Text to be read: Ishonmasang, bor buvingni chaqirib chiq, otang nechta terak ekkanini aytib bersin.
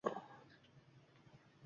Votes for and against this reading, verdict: 1, 2, rejected